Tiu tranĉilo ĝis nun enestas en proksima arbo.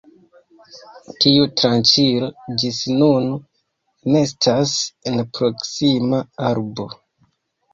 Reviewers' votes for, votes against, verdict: 2, 3, rejected